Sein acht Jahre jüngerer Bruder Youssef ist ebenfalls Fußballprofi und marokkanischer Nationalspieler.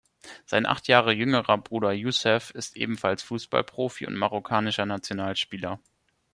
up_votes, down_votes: 2, 0